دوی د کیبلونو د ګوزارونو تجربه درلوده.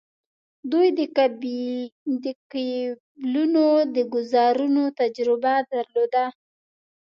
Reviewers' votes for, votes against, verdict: 0, 2, rejected